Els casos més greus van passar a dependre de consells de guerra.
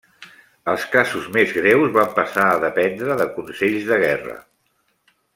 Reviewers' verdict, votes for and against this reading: rejected, 0, 2